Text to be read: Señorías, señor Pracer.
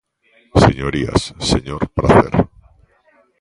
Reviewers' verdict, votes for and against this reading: rejected, 1, 2